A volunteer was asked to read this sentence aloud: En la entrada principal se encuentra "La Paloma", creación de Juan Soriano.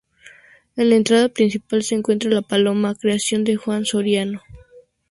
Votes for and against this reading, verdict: 2, 0, accepted